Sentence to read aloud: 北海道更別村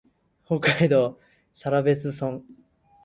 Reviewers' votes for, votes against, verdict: 2, 2, rejected